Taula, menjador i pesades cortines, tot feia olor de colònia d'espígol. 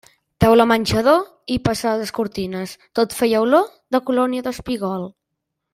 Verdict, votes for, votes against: rejected, 1, 2